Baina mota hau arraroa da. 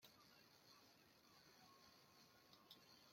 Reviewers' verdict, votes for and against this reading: rejected, 0, 2